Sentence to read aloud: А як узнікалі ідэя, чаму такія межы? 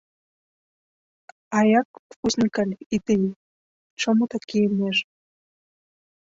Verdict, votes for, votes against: rejected, 1, 2